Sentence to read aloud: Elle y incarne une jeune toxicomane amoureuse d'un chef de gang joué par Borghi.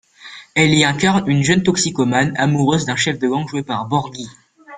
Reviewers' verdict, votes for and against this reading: accepted, 2, 1